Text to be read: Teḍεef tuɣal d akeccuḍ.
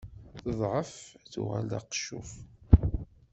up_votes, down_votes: 1, 2